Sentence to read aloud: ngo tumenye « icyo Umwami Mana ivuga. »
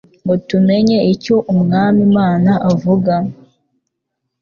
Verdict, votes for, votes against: rejected, 1, 2